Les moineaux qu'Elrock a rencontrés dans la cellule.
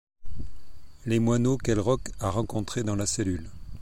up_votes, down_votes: 2, 0